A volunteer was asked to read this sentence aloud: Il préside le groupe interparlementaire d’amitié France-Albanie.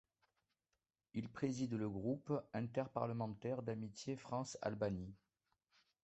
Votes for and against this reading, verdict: 2, 1, accepted